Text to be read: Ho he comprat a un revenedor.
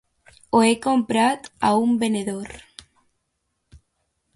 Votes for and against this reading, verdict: 0, 2, rejected